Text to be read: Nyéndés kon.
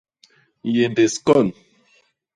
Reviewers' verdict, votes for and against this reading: accepted, 2, 0